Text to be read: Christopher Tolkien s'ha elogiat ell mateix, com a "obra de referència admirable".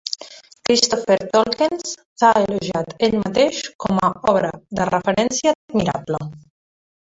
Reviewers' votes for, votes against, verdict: 0, 2, rejected